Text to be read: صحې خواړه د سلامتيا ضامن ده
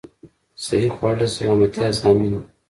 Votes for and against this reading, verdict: 2, 0, accepted